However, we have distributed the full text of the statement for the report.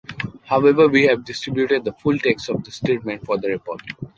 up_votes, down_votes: 1, 2